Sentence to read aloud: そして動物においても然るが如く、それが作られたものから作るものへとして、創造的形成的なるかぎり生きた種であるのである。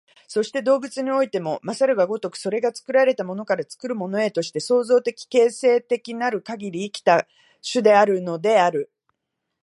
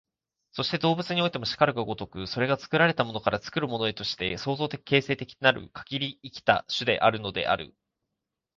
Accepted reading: first